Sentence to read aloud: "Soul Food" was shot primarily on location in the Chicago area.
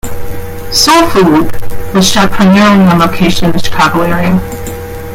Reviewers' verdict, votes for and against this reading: rejected, 0, 2